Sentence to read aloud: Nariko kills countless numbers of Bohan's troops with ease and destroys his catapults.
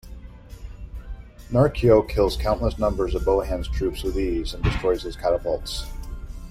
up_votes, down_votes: 1, 2